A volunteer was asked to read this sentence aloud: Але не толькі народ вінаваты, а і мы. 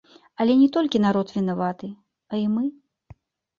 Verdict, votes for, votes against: accepted, 2, 0